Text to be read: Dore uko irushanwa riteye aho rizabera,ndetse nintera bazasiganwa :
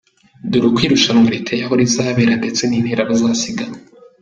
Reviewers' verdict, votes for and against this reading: accepted, 3, 0